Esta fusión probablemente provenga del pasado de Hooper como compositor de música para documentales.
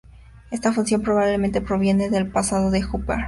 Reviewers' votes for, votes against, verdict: 0, 2, rejected